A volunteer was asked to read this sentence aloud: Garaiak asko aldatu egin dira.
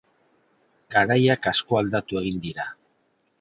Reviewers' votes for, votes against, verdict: 2, 0, accepted